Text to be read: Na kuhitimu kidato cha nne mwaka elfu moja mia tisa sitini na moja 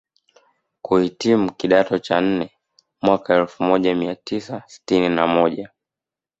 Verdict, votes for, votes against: accepted, 2, 1